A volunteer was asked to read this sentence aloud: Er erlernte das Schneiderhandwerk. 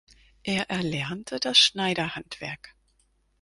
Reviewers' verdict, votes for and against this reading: accepted, 4, 0